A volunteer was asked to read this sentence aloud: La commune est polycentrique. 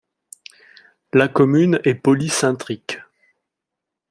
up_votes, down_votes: 1, 2